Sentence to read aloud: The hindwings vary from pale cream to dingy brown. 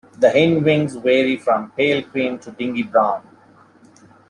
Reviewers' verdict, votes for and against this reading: rejected, 0, 2